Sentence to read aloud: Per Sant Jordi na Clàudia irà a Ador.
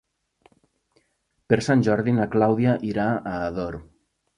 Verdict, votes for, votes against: accepted, 2, 0